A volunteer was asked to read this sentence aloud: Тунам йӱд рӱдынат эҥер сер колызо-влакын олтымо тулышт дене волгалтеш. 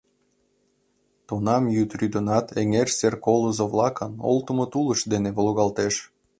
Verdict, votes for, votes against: accepted, 2, 0